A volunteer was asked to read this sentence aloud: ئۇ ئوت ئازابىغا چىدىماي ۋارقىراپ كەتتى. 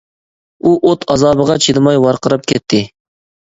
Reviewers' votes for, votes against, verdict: 4, 0, accepted